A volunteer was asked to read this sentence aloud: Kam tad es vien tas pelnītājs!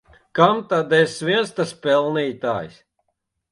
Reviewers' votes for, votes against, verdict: 0, 2, rejected